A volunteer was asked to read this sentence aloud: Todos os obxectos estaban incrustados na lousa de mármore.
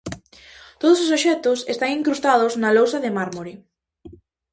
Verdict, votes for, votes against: rejected, 0, 2